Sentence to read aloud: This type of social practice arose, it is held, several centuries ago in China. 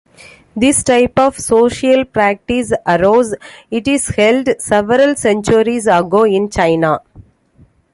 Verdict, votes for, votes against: accepted, 2, 0